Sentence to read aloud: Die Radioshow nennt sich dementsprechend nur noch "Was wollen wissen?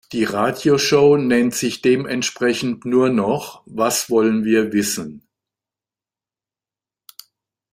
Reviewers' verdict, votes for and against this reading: rejected, 0, 2